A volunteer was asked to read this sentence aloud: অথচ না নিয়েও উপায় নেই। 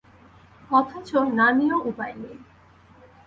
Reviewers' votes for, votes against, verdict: 4, 2, accepted